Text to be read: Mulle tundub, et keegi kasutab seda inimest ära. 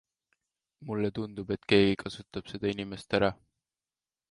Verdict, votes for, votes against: accepted, 2, 0